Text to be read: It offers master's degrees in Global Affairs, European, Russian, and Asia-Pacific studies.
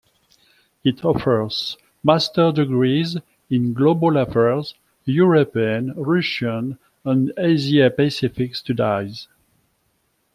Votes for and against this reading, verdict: 0, 2, rejected